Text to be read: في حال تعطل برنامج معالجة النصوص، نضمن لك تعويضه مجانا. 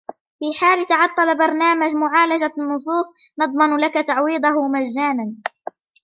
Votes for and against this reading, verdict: 2, 0, accepted